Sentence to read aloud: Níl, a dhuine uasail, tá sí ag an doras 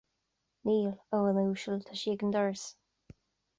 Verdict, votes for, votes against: accepted, 2, 0